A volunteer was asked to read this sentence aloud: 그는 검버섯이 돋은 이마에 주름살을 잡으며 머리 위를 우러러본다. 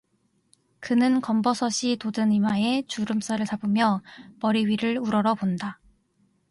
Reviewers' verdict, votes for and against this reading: accepted, 2, 0